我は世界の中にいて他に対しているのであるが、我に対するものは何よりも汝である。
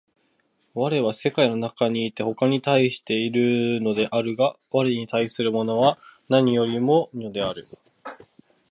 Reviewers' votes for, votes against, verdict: 1, 2, rejected